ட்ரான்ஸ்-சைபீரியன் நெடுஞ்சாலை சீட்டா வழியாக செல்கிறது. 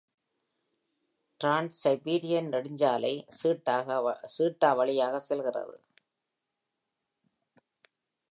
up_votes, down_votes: 0, 2